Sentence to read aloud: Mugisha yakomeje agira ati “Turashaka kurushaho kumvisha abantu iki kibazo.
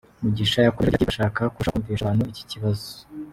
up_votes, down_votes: 1, 2